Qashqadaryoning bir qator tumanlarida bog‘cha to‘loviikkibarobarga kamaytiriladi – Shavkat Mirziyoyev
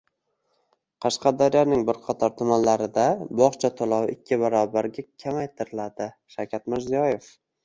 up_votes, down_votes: 2, 0